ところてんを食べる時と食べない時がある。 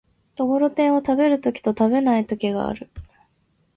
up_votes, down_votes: 2, 0